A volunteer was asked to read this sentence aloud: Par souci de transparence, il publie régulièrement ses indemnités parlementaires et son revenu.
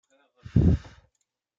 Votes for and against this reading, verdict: 0, 2, rejected